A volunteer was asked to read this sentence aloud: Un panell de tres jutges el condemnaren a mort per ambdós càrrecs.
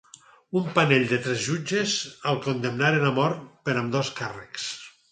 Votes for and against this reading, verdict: 6, 0, accepted